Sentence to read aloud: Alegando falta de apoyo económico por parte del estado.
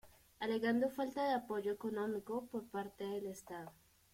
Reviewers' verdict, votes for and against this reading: rejected, 0, 2